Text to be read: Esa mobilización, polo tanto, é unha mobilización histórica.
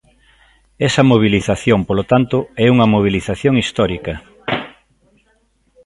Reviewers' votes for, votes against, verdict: 2, 0, accepted